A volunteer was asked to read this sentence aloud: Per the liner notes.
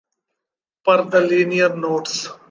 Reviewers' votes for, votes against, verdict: 0, 2, rejected